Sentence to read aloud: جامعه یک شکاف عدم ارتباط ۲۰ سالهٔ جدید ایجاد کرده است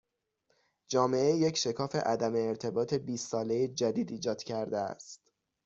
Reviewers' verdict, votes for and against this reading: rejected, 0, 2